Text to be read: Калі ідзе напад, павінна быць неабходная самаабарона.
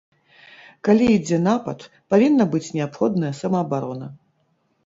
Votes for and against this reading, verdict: 0, 2, rejected